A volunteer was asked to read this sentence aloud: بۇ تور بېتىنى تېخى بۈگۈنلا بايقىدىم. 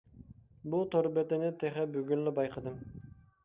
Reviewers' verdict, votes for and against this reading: accepted, 2, 0